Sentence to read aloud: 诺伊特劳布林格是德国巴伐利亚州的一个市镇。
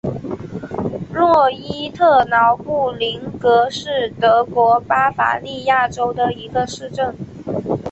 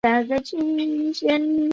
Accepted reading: first